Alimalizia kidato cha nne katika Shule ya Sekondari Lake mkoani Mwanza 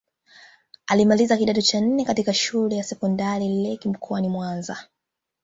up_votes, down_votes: 1, 2